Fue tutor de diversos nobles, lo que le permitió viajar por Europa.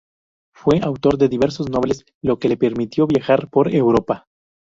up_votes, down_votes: 0, 2